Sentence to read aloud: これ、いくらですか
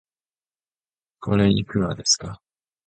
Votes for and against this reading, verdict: 4, 1, accepted